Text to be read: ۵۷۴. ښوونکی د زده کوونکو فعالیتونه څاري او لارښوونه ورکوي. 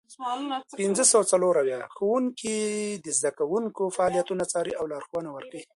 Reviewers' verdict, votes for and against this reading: rejected, 0, 2